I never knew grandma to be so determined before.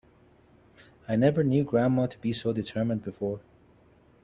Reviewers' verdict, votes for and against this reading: accepted, 2, 0